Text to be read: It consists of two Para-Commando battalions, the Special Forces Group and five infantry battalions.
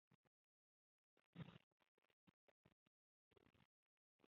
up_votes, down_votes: 0, 2